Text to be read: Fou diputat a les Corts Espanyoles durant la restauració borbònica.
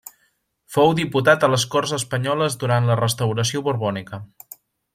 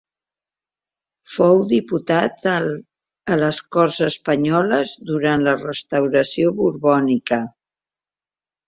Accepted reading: first